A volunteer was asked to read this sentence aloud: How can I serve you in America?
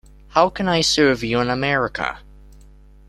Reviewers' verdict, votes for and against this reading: accepted, 2, 0